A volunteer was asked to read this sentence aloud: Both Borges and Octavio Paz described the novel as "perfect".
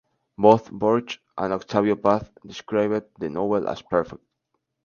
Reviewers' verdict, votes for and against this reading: rejected, 0, 2